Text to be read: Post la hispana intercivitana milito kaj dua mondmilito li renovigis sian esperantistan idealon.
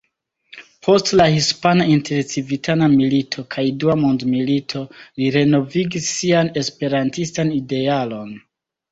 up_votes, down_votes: 2, 0